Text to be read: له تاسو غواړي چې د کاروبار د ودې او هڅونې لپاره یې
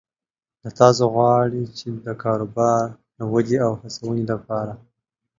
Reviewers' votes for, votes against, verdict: 2, 0, accepted